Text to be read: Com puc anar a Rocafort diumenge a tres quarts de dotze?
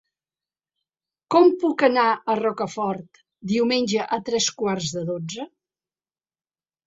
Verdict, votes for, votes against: accepted, 3, 1